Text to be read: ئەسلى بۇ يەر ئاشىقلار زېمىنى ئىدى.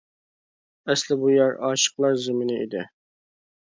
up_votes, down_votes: 2, 0